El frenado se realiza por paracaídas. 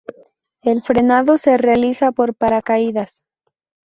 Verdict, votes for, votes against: accepted, 2, 0